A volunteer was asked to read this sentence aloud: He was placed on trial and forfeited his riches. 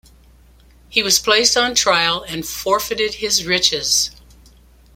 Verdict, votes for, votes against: accepted, 2, 0